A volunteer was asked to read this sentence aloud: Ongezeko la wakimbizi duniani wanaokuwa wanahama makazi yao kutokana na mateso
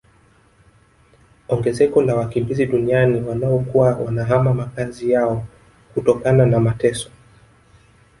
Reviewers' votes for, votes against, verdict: 2, 1, accepted